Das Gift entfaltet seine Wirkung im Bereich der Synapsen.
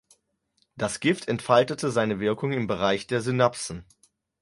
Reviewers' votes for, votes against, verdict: 0, 6, rejected